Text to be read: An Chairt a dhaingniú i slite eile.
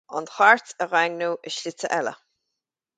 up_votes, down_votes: 4, 0